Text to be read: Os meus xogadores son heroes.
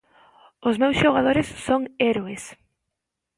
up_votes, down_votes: 0, 2